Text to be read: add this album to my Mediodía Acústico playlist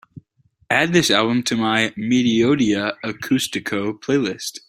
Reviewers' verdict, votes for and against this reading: accepted, 2, 0